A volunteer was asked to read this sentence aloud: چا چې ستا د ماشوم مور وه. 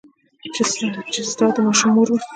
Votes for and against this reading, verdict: 0, 2, rejected